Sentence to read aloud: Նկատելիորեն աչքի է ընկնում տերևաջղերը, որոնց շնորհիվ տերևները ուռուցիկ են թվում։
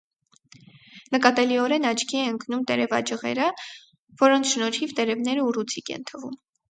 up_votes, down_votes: 4, 0